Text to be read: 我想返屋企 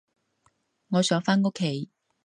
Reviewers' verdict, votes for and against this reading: accepted, 2, 0